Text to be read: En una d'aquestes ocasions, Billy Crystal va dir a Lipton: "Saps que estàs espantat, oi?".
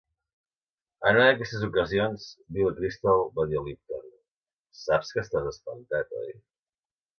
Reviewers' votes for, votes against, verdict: 3, 1, accepted